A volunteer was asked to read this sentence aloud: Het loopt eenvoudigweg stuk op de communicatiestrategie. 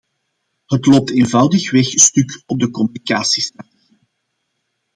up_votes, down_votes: 0, 2